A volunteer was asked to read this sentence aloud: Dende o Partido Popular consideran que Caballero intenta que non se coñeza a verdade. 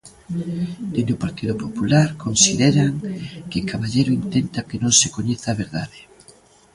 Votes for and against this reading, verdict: 2, 0, accepted